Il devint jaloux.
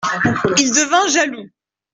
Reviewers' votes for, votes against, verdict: 0, 2, rejected